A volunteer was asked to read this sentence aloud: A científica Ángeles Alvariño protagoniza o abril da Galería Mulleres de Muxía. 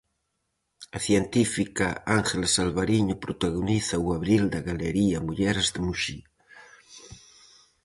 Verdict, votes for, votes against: accepted, 4, 0